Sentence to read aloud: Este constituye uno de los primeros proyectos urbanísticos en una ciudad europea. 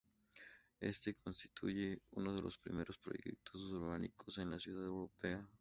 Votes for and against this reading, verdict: 2, 0, accepted